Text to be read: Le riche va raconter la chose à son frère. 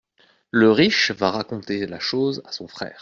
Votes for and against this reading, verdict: 2, 0, accepted